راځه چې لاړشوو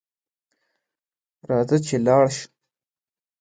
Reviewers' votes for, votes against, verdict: 2, 0, accepted